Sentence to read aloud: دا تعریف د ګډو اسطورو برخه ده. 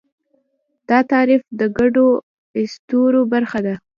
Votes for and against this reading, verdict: 2, 0, accepted